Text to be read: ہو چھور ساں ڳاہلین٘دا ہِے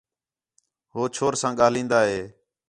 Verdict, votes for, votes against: accepted, 4, 0